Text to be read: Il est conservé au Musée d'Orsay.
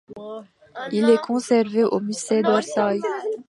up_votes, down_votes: 0, 2